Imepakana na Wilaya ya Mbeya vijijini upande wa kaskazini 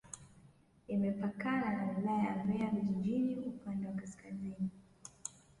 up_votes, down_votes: 1, 2